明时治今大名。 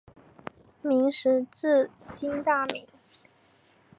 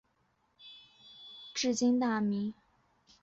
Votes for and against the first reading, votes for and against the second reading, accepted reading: 2, 0, 1, 3, first